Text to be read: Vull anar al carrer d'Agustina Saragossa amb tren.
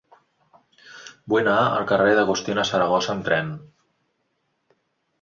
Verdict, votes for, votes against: rejected, 1, 2